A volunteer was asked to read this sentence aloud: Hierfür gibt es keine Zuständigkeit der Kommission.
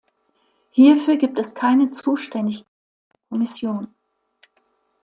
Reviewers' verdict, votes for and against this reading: rejected, 1, 2